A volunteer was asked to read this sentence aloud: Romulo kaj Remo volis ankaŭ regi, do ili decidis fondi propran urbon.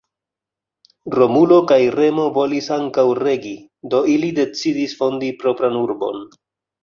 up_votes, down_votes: 1, 2